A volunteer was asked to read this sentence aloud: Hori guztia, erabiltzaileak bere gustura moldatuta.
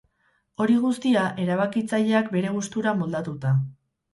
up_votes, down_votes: 2, 4